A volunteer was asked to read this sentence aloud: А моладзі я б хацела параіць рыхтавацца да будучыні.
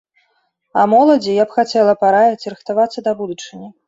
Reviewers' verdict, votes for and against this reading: accepted, 2, 0